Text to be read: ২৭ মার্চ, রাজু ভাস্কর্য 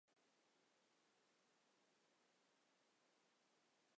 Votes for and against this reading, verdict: 0, 2, rejected